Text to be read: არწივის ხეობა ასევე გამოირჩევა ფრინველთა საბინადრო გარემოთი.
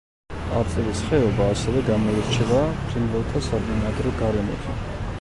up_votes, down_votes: 1, 2